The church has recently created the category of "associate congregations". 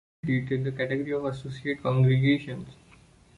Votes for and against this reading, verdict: 1, 2, rejected